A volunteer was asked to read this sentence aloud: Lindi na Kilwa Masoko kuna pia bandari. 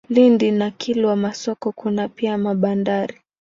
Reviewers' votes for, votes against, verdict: 4, 2, accepted